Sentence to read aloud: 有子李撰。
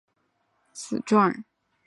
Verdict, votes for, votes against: rejected, 0, 2